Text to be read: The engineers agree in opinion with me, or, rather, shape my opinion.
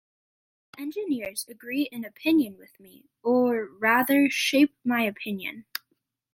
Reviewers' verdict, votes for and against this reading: accepted, 2, 1